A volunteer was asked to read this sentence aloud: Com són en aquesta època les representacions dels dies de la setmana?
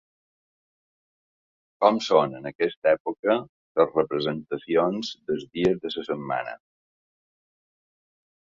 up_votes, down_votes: 0, 2